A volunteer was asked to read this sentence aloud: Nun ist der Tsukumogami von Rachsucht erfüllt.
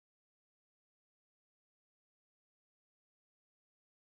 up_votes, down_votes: 0, 2